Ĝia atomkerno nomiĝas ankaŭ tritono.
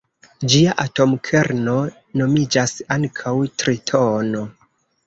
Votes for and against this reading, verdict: 0, 2, rejected